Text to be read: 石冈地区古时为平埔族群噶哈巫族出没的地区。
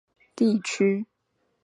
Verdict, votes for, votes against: rejected, 1, 4